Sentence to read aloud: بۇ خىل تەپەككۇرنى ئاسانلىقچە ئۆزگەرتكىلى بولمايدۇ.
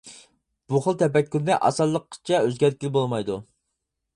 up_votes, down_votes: 2, 4